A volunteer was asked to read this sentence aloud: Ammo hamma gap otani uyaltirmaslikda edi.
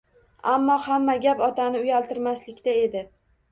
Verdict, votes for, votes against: accepted, 2, 0